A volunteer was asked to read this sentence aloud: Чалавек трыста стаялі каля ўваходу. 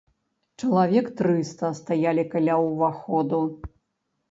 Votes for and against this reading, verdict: 2, 0, accepted